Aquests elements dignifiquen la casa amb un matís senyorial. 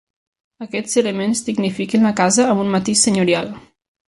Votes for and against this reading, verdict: 3, 0, accepted